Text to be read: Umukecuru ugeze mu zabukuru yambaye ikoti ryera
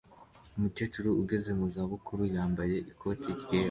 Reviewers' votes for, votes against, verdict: 1, 2, rejected